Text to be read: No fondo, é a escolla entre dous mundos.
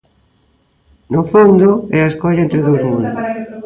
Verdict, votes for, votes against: rejected, 0, 2